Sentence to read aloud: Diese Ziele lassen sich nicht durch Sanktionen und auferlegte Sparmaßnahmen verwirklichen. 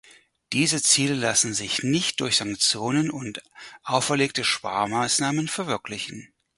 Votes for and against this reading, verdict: 2, 4, rejected